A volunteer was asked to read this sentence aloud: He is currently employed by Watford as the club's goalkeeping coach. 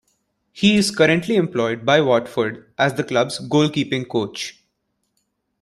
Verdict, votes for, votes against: accepted, 2, 0